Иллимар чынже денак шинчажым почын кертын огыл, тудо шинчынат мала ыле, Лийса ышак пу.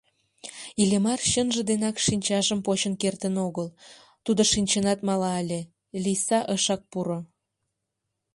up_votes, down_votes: 1, 2